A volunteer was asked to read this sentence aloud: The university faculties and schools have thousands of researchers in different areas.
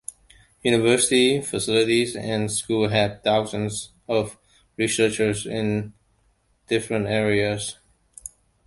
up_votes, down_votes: 0, 2